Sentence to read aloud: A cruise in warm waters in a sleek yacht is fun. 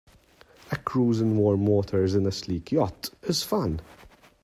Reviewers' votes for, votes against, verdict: 2, 0, accepted